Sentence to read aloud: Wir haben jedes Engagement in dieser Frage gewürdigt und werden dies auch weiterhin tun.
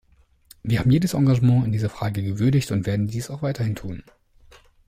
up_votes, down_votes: 2, 0